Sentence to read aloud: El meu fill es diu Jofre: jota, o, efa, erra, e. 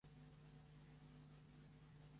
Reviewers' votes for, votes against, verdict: 0, 2, rejected